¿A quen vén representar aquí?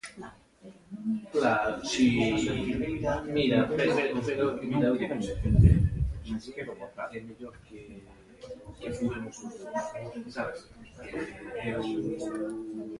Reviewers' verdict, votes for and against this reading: rejected, 0, 2